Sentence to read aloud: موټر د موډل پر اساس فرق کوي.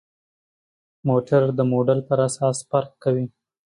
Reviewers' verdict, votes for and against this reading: accepted, 2, 0